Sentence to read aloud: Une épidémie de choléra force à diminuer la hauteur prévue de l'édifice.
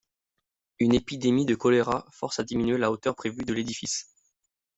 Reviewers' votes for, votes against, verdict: 2, 0, accepted